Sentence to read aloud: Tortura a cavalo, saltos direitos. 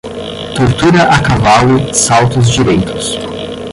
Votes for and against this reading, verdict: 5, 5, rejected